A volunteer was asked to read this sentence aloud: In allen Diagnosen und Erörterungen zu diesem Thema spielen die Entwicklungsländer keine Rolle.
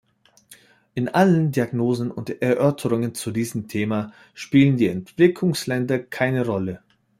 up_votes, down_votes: 1, 2